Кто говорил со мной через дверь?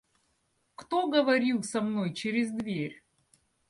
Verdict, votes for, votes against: accepted, 2, 0